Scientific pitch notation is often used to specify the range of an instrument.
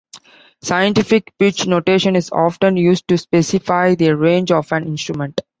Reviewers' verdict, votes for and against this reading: accepted, 2, 0